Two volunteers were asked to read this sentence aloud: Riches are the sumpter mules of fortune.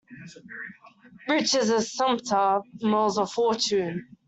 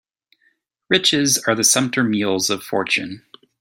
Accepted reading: second